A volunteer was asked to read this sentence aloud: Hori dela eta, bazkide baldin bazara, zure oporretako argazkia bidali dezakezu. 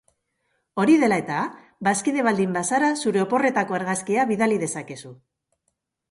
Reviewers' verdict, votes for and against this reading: accepted, 2, 0